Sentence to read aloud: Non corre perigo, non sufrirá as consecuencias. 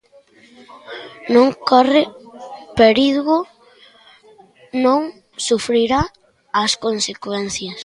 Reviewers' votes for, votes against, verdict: 2, 0, accepted